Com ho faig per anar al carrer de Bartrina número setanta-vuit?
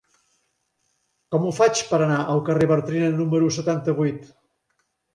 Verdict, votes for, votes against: rejected, 0, 2